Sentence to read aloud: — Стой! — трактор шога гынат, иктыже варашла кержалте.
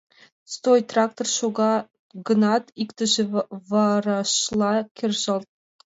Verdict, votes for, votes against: rejected, 0, 3